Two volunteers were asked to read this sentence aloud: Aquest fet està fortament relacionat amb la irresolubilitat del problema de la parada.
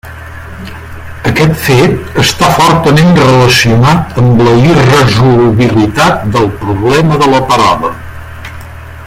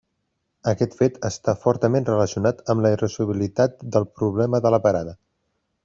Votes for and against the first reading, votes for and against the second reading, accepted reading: 1, 2, 2, 0, second